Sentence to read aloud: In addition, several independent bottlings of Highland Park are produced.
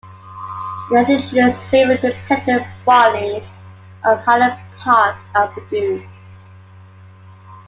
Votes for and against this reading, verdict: 1, 2, rejected